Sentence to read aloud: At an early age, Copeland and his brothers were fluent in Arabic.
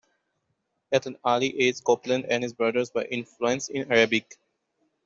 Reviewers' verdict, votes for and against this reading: rejected, 1, 2